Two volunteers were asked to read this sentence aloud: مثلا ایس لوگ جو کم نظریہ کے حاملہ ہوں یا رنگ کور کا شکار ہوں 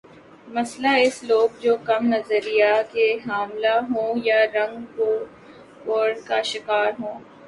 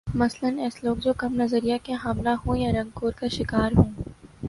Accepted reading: second